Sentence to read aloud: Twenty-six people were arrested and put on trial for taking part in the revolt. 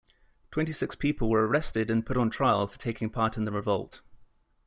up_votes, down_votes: 2, 0